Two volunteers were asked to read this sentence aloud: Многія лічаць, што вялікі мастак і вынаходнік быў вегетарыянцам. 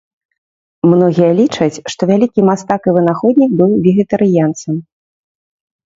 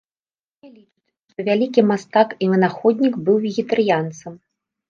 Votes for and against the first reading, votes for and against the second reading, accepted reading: 2, 0, 0, 3, first